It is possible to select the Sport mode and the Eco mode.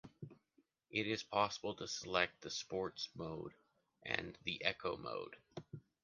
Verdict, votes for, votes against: rejected, 0, 2